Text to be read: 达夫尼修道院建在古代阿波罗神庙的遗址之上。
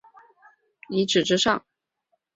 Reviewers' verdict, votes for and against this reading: rejected, 0, 4